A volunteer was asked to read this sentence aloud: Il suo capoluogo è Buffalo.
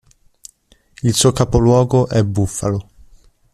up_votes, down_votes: 1, 2